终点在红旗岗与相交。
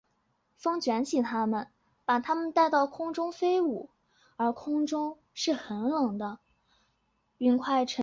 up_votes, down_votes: 0, 3